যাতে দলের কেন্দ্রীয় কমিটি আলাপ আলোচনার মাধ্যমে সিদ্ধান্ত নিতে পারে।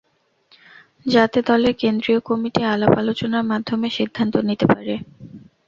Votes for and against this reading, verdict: 0, 2, rejected